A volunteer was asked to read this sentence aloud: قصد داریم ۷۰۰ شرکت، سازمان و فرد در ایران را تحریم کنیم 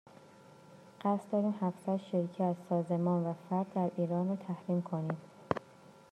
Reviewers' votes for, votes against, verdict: 0, 2, rejected